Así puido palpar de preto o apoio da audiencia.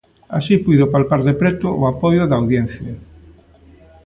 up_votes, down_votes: 2, 0